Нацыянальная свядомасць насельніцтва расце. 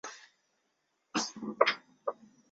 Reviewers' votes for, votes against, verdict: 0, 2, rejected